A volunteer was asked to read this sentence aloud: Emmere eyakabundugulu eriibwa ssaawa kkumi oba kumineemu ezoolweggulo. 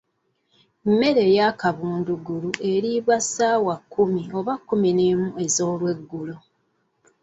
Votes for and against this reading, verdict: 0, 2, rejected